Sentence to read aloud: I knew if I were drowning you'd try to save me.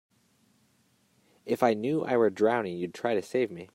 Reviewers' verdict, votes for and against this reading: rejected, 0, 2